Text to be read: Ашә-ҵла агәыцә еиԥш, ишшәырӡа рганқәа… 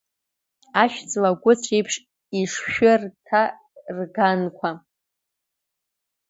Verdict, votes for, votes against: rejected, 0, 2